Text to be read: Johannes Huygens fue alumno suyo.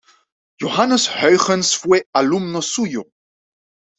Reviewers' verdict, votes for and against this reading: accepted, 2, 0